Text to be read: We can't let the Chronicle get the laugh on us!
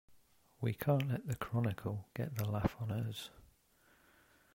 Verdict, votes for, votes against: accepted, 2, 0